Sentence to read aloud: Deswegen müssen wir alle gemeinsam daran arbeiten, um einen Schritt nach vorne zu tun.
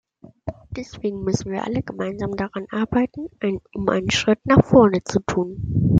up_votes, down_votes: 1, 2